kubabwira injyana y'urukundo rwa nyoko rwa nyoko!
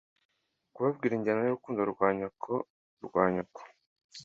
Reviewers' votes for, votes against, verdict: 2, 0, accepted